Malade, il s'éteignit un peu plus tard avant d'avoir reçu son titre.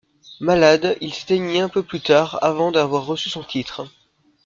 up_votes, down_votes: 0, 2